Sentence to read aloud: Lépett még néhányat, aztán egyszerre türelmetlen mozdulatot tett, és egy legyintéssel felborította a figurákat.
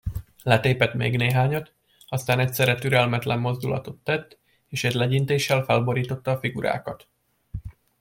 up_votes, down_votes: 1, 2